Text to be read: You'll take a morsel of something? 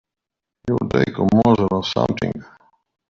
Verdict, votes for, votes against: rejected, 0, 2